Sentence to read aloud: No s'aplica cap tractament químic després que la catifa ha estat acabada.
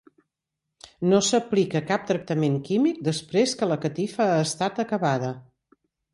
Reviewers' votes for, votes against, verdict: 2, 0, accepted